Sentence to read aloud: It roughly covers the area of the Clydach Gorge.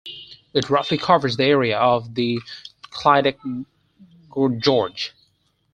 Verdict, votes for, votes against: rejected, 0, 4